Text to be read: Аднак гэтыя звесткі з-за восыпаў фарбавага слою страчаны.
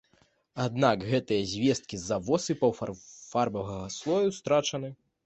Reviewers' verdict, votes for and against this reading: rejected, 2, 3